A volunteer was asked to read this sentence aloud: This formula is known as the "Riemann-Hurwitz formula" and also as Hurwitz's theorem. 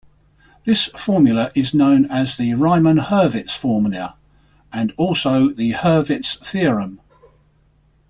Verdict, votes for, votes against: accepted, 2, 0